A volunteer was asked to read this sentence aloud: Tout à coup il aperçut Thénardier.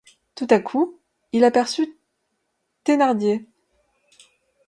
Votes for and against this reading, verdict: 2, 0, accepted